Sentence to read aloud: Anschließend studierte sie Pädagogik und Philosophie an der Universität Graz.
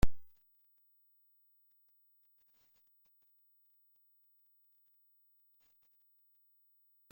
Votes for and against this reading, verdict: 0, 2, rejected